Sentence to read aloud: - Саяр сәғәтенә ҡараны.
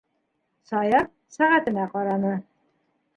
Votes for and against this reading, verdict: 2, 0, accepted